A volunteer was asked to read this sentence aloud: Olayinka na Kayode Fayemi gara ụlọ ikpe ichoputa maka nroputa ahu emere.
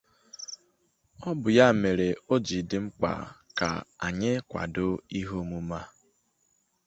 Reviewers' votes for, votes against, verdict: 0, 2, rejected